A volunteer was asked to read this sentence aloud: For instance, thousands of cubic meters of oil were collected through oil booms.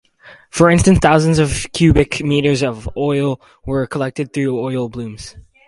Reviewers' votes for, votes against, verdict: 0, 4, rejected